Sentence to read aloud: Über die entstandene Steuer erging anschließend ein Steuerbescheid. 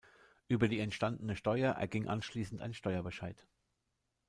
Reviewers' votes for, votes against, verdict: 2, 0, accepted